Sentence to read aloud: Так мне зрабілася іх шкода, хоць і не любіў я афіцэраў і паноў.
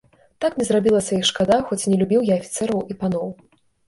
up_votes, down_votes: 0, 2